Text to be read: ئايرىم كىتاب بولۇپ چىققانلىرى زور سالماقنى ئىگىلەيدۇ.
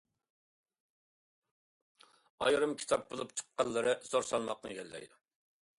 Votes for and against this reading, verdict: 2, 0, accepted